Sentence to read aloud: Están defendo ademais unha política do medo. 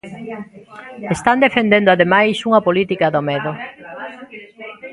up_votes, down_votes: 1, 2